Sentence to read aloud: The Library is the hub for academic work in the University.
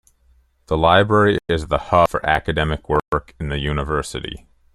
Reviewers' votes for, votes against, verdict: 2, 1, accepted